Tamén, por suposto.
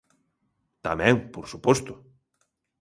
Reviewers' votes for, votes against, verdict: 2, 0, accepted